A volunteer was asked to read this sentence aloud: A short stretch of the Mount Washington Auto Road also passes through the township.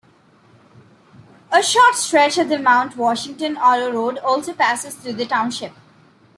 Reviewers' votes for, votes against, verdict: 2, 0, accepted